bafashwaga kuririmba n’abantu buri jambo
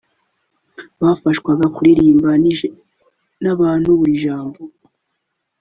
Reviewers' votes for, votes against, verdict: 1, 3, rejected